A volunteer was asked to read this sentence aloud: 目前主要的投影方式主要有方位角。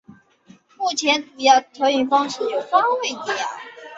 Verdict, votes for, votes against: rejected, 1, 2